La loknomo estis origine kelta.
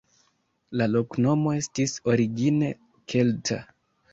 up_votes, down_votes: 2, 1